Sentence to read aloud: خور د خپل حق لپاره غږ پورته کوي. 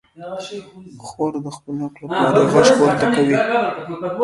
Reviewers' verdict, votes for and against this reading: rejected, 0, 2